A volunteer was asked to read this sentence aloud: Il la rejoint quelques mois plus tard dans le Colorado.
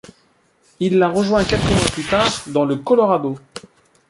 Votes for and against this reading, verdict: 0, 2, rejected